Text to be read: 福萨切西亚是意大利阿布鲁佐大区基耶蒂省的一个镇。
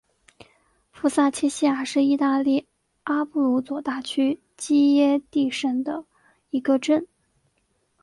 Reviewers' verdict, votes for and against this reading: accepted, 3, 1